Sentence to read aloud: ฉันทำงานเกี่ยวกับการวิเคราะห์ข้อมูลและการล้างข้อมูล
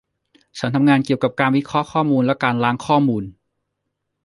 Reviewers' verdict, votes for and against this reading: accepted, 2, 0